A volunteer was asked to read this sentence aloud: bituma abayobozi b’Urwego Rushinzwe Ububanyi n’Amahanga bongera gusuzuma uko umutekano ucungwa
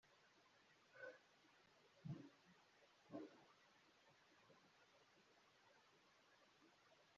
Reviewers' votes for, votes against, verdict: 0, 2, rejected